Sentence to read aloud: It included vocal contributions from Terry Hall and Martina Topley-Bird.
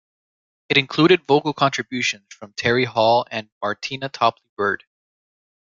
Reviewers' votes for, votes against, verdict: 2, 0, accepted